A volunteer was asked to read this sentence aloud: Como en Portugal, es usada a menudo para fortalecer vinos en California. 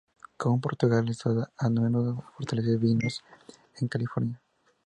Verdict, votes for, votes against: rejected, 0, 2